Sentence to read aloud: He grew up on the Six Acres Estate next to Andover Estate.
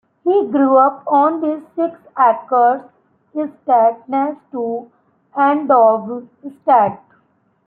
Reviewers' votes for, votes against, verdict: 1, 2, rejected